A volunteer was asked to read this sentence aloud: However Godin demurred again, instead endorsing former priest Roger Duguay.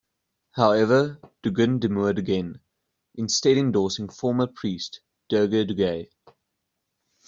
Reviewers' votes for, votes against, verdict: 0, 2, rejected